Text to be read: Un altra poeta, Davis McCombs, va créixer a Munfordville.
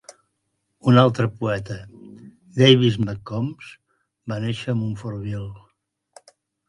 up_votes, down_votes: 1, 2